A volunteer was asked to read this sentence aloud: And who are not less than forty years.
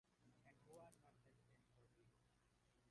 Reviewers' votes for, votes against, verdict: 0, 2, rejected